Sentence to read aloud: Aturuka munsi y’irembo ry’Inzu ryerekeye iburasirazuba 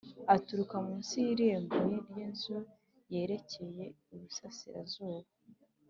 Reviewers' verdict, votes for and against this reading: accepted, 3, 0